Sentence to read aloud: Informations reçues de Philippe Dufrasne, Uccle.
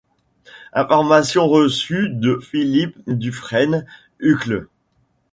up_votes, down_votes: 0, 2